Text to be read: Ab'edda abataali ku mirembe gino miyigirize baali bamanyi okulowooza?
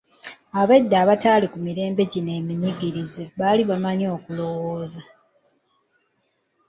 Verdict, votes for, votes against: rejected, 0, 2